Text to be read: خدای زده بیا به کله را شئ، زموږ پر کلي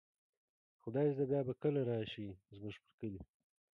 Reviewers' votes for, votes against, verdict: 1, 2, rejected